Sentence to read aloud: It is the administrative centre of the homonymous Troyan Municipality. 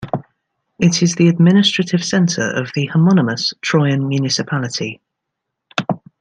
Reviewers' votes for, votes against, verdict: 2, 0, accepted